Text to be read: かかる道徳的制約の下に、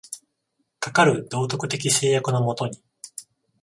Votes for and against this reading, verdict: 14, 0, accepted